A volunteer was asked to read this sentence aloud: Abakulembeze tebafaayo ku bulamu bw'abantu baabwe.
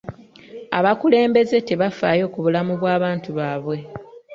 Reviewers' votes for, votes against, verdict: 2, 0, accepted